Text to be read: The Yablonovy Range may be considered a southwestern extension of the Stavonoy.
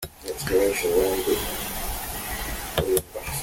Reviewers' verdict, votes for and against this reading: rejected, 0, 2